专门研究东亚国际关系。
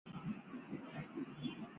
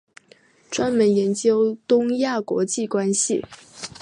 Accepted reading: second